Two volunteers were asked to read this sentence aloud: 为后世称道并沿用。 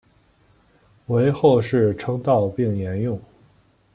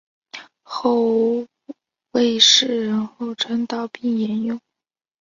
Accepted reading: first